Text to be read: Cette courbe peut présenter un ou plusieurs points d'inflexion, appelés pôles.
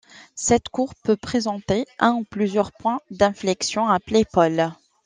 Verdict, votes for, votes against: accepted, 2, 1